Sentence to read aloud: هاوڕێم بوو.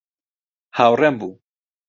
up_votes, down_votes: 2, 0